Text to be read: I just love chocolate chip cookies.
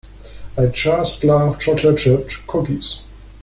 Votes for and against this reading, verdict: 1, 2, rejected